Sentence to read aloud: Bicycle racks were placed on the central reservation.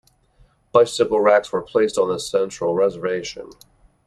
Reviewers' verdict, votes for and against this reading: accepted, 2, 0